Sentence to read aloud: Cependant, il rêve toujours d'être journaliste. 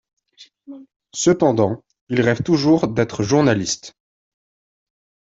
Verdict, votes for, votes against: accepted, 2, 0